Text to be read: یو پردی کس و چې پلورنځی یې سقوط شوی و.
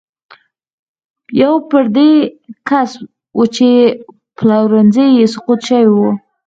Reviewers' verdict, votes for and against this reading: rejected, 2, 4